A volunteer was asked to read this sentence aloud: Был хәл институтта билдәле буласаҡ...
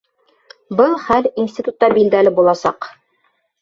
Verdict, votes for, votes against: rejected, 1, 2